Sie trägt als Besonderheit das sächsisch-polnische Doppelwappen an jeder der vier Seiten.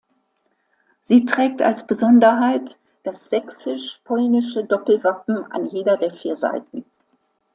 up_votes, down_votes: 2, 0